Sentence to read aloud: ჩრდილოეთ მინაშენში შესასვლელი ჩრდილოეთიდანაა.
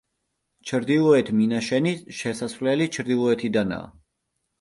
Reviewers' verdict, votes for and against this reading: rejected, 0, 2